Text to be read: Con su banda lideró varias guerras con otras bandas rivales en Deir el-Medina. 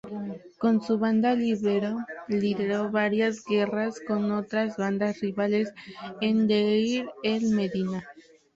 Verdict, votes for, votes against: rejected, 0, 2